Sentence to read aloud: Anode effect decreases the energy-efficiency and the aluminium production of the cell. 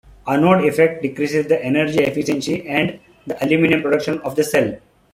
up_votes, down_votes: 2, 1